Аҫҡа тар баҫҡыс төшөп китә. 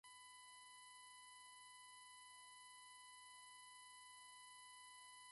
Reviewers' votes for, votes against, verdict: 1, 2, rejected